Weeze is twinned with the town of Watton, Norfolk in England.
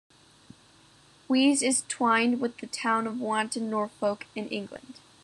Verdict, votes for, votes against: rejected, 0, 2